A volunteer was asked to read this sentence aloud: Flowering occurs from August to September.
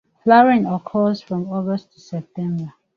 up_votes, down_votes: 1, 2